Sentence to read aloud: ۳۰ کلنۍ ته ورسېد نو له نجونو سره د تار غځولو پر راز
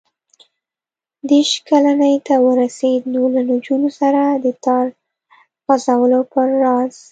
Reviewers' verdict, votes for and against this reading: rejected, 0, 2